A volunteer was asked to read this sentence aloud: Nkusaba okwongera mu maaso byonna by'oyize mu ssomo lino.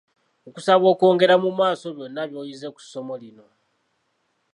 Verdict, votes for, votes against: accepted, 2, 0